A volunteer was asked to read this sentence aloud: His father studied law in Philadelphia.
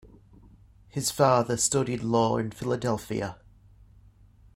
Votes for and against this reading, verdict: 2, 0, accepted